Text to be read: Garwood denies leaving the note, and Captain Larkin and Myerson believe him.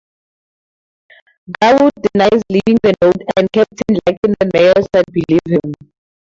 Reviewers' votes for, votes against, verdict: 2, 4, rejected